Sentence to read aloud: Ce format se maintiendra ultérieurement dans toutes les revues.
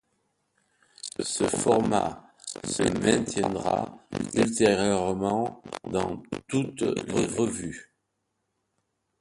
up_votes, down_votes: 2, 0